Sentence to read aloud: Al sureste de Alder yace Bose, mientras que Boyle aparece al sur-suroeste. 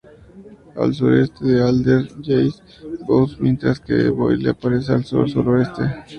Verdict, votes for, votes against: accepted, 2, 0